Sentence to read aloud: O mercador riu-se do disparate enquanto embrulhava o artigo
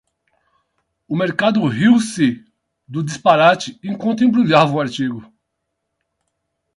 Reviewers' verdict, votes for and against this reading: rejected, 4, 8